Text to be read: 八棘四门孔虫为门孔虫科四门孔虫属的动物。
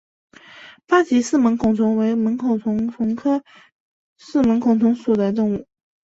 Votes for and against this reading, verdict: 2, 0, accepted